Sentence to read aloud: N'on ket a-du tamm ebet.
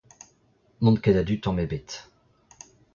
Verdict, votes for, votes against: accepted, 2, 1